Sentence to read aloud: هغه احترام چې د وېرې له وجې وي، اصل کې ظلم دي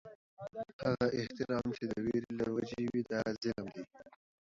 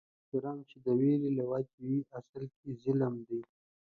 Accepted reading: second